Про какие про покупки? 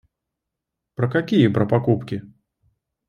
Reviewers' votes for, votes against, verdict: 2, 0, accepted